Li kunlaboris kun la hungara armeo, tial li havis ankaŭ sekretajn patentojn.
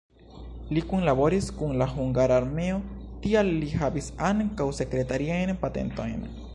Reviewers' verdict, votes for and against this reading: rejected, 0, 2